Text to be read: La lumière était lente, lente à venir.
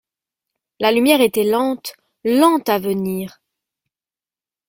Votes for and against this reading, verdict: 2, 0, accepted